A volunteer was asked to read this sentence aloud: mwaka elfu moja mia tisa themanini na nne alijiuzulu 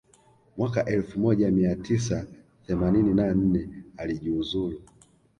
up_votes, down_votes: 1, 2